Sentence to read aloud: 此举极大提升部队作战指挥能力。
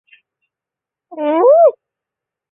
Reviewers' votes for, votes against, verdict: 0, 2, rejected